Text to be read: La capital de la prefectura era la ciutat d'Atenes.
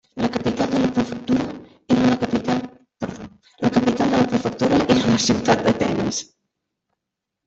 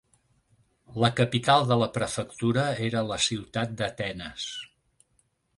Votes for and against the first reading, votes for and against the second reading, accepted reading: 0, 2, 3, 0, second